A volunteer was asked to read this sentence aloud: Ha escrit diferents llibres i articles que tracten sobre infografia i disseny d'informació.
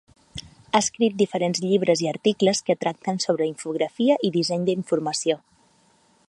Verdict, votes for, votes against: accepted, 6, 0